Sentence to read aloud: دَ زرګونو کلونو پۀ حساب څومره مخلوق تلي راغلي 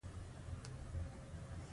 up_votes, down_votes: 1, 2